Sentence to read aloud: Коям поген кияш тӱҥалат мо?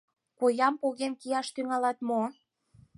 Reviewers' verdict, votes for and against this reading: accepted, 4, 0